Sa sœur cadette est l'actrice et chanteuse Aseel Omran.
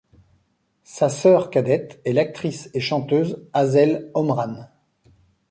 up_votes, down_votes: 2, 0